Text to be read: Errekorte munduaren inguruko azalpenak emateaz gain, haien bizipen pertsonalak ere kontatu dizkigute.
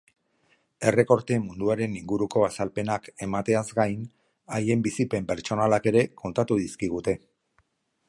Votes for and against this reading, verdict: 2, 1, accepted